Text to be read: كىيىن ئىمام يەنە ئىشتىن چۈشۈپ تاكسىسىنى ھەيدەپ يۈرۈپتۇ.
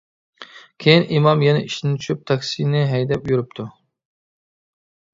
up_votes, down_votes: 1, 2